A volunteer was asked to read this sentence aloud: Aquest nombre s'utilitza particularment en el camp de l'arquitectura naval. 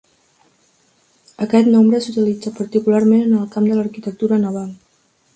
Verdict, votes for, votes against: accepted, 2, 0